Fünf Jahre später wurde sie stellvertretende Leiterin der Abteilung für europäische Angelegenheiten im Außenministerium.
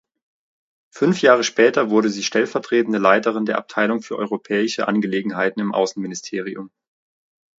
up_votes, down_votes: 2, 0